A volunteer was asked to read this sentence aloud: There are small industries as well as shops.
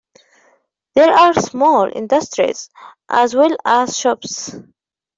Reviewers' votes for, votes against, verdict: 2, 0, accepted